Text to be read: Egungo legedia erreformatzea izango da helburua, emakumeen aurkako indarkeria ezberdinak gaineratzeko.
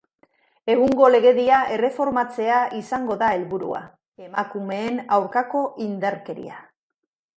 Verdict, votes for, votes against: rejected, 0, 2